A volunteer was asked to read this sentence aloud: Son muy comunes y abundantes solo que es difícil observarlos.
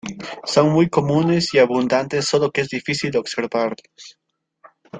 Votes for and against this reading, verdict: 0, 2, rejected